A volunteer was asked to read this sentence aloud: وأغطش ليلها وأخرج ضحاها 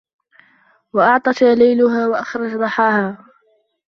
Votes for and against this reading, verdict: 1, 2, rejected